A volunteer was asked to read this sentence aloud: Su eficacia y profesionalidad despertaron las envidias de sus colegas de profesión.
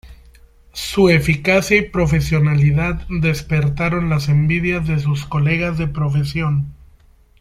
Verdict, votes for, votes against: accepted, 2, 0